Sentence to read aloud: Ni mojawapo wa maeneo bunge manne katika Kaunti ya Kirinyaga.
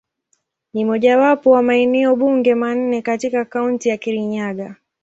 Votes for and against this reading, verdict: 9, 2, accepted